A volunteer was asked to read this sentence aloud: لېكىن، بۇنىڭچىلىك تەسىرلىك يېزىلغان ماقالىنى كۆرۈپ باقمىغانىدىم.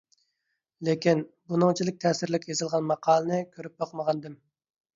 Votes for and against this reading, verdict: 2, 0, accepted